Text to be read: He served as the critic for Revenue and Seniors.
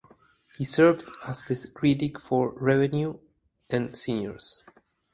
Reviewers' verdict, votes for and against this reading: accepted, 4, 2